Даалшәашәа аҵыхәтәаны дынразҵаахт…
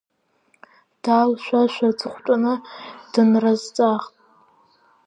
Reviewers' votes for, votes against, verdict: 1, 2, rejected